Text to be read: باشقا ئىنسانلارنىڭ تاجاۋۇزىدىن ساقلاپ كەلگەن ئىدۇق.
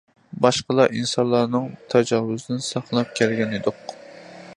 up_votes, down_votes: 0, 2